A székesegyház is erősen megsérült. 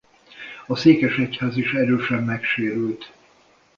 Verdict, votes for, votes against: accepted, 2, 0